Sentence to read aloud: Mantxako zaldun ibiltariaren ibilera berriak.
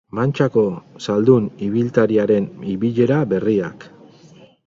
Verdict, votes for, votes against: rejected, 2, 4